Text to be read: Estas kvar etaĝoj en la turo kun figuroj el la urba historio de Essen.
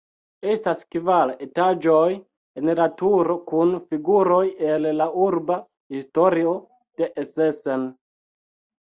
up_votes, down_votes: 0, 2